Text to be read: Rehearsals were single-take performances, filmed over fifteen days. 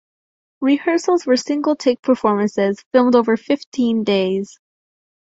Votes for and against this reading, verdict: 2, 0, accepted